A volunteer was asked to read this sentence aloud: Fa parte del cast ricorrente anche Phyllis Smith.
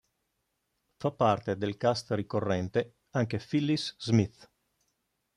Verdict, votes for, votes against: accepted, 2, 0